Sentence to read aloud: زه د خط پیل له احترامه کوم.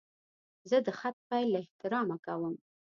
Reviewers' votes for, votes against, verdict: 2, 0, accepted